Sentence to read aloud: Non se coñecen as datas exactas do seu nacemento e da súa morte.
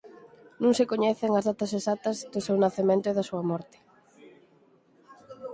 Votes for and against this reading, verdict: 4, 0, accepted